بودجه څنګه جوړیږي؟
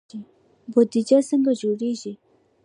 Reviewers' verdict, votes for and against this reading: accepted, 2, 0